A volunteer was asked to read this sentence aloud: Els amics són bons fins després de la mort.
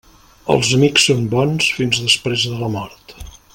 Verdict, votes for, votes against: accepted, 3, 0